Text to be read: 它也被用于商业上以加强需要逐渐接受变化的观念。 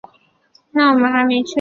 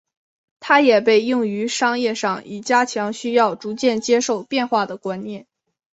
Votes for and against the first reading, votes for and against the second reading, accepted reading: 1, 2, 4, 0, second